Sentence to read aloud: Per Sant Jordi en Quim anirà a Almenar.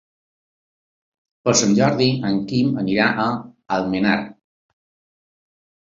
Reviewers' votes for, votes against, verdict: 3, 0, accepted